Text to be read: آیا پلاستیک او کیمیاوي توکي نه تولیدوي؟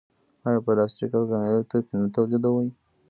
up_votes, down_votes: 1, 2